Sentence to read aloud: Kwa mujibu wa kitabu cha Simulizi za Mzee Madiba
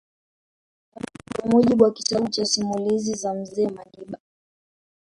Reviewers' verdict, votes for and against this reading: rejected, 0, 2